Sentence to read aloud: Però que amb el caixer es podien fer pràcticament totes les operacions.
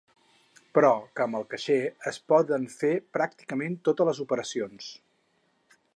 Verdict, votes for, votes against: rejected, 2, 4